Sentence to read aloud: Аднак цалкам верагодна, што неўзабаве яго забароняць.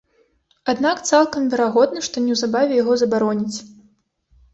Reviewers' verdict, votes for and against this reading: accepted, 2, 0